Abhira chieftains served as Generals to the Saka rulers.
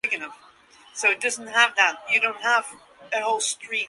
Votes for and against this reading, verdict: 0, 2, rejected